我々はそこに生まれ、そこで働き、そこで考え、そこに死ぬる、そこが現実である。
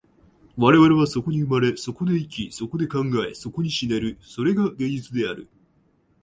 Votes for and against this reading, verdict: 13, 13, rejected